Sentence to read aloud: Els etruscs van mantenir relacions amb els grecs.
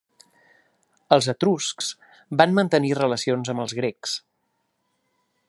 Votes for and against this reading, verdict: 3, 0, accepted